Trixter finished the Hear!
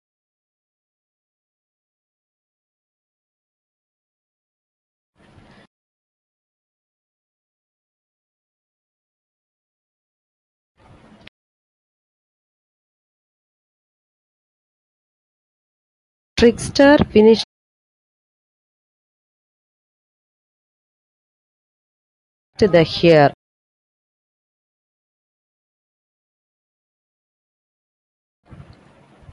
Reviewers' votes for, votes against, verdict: 0, 2, rejected